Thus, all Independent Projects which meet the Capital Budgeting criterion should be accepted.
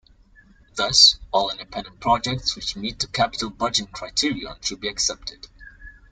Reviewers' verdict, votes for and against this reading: accepted, 2, 1